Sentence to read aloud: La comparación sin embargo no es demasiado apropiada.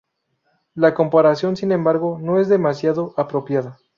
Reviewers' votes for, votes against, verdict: 2, 0, accepted